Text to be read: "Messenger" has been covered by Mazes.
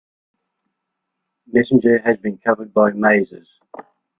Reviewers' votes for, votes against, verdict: 2, 0, accepted